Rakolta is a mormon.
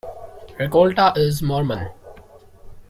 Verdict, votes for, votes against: rejected, 1, 2